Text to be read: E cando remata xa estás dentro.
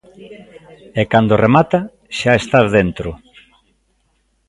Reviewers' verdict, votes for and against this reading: rejected, 1, 2